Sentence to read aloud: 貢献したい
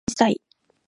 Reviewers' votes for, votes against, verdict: 1, 2, rejected